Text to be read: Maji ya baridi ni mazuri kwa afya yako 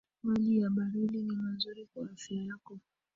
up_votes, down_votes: 0, 2